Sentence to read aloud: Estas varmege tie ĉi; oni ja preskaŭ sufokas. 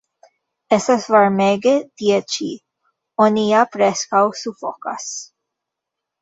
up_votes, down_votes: 2, 1